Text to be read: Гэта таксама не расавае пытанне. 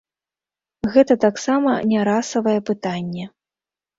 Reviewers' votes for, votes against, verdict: 0, 2, rejected